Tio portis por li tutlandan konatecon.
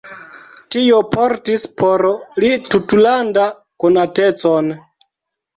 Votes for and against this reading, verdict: 1, 2, rejected